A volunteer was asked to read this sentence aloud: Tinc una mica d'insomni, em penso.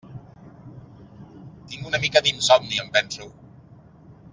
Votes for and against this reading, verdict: 3, 0, accepted